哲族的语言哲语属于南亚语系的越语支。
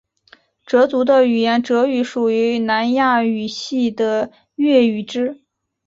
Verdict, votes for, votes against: accepted, 2, 1